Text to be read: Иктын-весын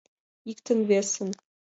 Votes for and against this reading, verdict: 2, 0, accepted